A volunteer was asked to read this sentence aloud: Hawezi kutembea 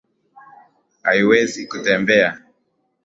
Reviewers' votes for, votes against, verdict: 1, 2, rejected